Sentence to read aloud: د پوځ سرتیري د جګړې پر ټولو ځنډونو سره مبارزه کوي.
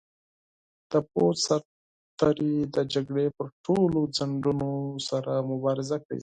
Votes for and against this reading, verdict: 0, 4, rejected